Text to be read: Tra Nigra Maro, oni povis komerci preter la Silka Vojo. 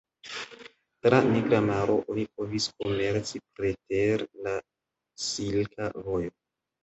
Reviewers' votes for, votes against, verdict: 1, 3, rejected